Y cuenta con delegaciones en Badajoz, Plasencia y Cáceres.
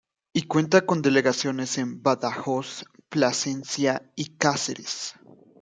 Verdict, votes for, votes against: accepted, 2, 0